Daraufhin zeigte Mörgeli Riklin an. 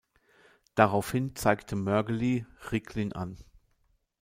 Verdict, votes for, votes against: accepted, 2, 0